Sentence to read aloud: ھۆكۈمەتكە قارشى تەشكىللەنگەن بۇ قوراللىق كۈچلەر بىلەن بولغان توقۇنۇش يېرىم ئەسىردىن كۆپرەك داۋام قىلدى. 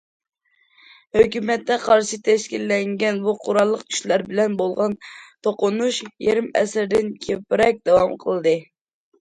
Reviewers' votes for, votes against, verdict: 0, 2, rejected